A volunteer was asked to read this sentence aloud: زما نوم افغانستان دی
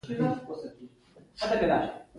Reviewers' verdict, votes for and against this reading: accepted, 2, 1